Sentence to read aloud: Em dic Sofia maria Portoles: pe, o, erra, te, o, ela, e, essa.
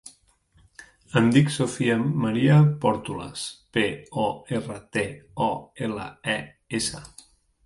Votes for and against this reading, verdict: 0, 2, rejected